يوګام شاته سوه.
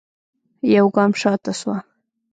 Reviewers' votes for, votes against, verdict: 2, 0, accepted